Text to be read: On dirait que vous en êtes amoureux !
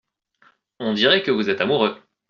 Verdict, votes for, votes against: accepted, 2, 1